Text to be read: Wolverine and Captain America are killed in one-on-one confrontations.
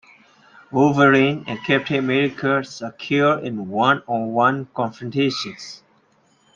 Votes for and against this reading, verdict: 1, 2, rejected